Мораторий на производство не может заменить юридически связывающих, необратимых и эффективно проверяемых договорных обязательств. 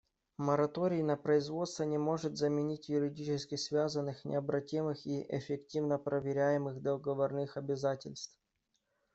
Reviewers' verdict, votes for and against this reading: rejected, 1, 2